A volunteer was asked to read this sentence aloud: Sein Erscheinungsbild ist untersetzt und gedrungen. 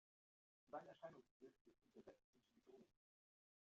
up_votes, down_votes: 0, 2